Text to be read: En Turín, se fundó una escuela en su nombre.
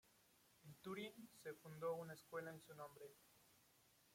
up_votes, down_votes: 2, 1